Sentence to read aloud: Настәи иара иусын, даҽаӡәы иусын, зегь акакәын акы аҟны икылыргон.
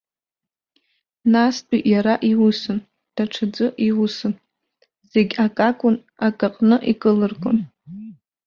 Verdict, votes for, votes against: rejected, 1, 2